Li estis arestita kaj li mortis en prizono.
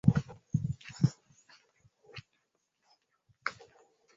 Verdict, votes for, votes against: rejected, 1, 2